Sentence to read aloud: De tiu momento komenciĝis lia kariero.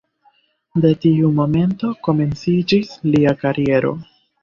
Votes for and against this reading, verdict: 3, 1, accepted